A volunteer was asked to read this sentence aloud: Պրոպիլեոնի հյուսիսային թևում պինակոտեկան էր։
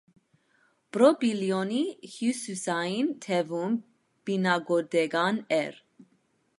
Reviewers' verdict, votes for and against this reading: rejected, 1, 2